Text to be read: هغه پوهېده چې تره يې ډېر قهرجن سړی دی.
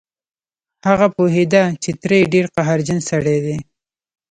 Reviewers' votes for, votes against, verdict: 1, 2, rejected